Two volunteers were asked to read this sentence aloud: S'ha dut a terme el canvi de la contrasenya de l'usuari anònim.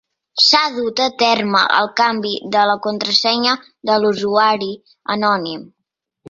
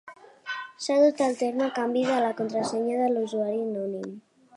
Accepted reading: first